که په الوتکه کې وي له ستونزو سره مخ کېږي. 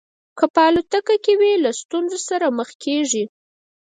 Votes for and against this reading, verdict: 4, 0, accepted